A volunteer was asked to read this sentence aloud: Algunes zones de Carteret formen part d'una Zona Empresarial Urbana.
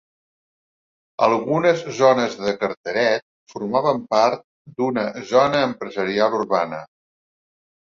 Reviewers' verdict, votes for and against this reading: rejected, 0, 2